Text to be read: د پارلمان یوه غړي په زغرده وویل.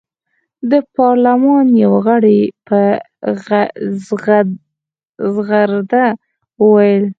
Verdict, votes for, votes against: rejected, 2, 6